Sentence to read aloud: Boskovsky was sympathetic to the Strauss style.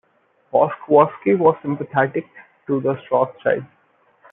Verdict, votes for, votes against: rejected, 1, 2